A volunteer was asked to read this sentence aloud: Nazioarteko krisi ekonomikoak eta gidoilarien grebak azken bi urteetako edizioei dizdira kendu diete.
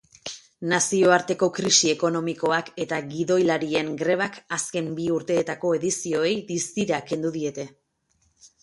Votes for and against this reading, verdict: 0, 2, rejected